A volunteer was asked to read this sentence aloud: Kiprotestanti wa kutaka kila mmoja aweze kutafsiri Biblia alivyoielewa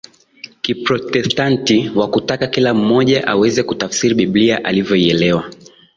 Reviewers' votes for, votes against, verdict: 2, 1, accepted